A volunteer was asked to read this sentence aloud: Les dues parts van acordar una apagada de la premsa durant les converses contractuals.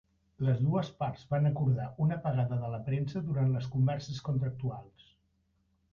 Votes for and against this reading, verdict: 2, 1, accepted